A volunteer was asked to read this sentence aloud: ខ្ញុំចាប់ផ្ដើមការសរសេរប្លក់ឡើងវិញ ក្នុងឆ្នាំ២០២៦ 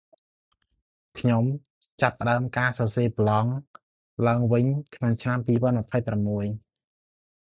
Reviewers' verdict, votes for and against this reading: rejected, 0, 2